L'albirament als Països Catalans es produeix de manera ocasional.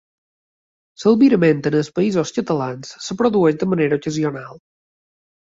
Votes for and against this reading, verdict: 1, 2, rejected